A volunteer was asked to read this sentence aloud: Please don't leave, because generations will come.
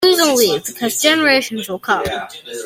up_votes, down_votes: 1, 2